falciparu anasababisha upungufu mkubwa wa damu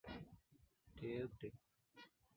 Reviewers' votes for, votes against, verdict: 0, 2, rejected